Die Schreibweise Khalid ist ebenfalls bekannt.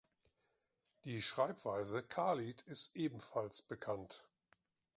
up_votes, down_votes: 2, 0